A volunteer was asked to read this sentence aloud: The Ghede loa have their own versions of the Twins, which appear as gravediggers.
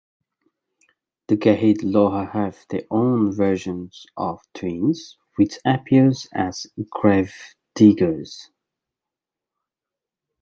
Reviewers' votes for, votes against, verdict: 1, 2, rejected